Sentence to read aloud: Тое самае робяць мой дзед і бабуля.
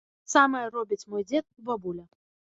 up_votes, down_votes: 0, 2